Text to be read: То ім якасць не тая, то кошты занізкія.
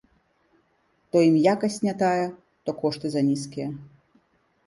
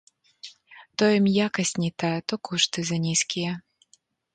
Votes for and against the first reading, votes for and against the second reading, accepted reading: 3, 0, 1, 2, first